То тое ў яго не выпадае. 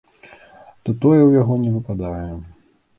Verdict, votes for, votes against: accepted, 2, 0